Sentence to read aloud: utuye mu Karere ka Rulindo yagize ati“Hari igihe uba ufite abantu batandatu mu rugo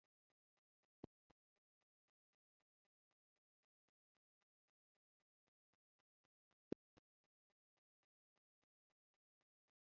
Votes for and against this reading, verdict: 1, 2, rejected